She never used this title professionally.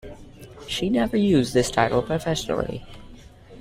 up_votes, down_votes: 2, 0